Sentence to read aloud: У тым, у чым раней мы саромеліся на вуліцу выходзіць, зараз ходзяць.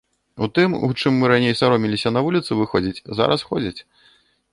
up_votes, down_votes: 1, 2